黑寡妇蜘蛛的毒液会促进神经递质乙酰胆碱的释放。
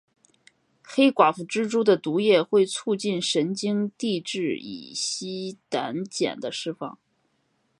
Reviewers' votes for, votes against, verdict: 1, 2, rejected